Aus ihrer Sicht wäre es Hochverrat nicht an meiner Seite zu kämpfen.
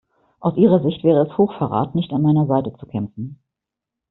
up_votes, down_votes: 1, 2